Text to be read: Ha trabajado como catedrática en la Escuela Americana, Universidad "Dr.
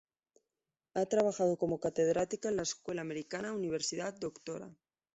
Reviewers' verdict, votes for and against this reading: accepted, 2, 0